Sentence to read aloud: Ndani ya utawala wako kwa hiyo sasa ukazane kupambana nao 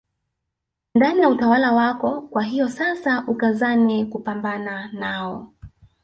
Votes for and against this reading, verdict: 2, 0, accepted